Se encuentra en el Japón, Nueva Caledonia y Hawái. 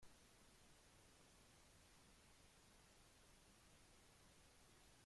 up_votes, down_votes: 0, 3